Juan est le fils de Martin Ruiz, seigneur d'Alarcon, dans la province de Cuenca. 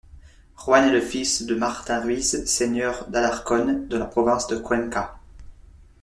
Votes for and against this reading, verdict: 1, 2, rejected